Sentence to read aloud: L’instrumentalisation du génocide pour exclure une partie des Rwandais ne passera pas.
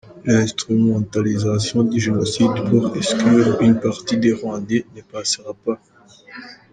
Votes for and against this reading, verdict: 0, 2, rejected